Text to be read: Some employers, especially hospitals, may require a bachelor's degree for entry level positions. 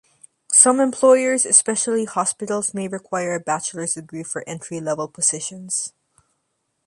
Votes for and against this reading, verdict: 2, 0, accepted